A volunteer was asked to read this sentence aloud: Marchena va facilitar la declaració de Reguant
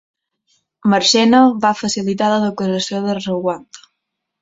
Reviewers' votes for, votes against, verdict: 1, 2, rejected